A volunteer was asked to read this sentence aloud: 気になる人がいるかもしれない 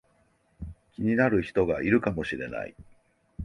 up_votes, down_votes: 2, 0